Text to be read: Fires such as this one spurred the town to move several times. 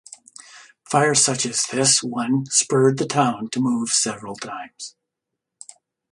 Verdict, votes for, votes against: accepted, 2, 0